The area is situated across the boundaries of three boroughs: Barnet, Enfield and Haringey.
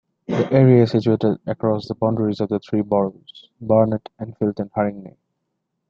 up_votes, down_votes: 2, 0